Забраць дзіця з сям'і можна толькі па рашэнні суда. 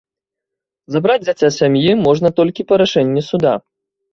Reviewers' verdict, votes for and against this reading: rejected, 1, 2